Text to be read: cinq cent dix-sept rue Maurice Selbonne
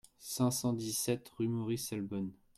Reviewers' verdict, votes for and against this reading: accepted, 2, 0